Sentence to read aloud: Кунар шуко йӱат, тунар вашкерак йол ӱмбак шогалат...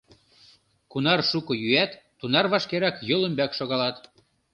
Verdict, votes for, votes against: rejected, 0, 2